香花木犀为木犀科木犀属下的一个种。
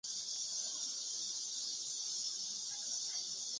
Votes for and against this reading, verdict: 1, 6, rejected